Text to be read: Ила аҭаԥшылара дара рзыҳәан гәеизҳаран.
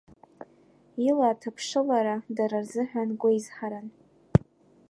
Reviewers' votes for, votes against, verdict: 1, 2, rejected